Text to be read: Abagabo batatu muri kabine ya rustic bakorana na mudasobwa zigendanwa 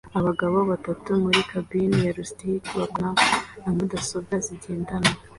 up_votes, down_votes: 2, 0